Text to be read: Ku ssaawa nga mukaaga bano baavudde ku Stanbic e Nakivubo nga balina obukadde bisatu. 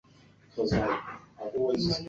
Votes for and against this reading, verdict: 0, 2, rejected